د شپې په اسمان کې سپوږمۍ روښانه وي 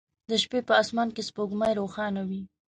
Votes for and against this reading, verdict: 2, 0, accepted